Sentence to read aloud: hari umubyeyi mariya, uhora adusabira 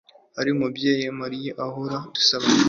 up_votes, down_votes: 1, 2